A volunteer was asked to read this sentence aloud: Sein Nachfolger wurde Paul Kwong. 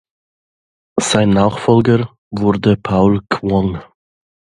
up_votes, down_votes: 2, 0